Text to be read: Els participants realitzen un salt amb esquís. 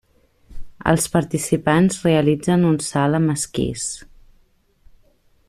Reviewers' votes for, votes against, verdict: 2, 0, accepted